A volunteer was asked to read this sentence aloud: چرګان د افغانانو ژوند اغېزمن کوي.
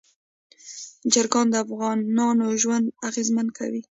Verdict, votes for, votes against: accepted, 2, 0